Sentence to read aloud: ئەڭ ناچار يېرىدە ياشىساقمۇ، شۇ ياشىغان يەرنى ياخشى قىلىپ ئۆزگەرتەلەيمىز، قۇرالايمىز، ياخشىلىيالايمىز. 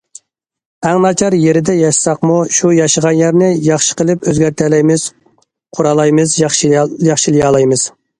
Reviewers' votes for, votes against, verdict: 0, 2, rejected